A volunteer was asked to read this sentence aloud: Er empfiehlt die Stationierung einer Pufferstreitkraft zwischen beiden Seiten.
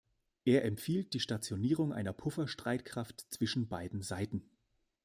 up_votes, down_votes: 2, 0